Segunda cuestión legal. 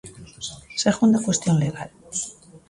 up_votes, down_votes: 2, 0